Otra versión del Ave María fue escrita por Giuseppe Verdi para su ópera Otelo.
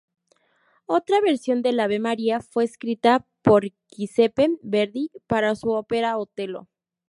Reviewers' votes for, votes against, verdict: 2, 0, accepted